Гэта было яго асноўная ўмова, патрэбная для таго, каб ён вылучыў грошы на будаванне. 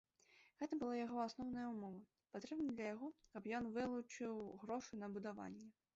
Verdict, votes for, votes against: rejected, 0, 2